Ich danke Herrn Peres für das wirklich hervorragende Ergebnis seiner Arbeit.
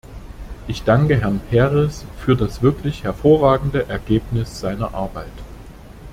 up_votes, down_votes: 2, 0